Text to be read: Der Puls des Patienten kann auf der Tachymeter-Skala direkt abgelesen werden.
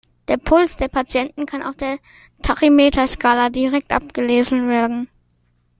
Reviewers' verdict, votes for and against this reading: rejected, 1, 2